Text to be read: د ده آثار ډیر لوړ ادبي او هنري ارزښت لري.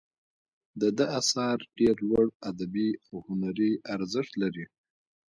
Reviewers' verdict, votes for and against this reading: rejected, 0, 2